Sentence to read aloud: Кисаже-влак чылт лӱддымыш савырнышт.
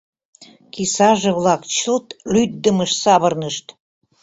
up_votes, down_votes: 2, 0